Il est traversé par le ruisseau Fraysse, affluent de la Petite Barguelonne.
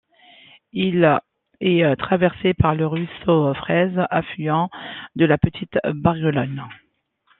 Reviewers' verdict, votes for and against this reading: rejected, 0, 2